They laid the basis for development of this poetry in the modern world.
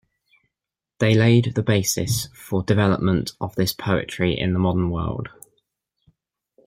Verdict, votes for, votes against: accepted, 2, 0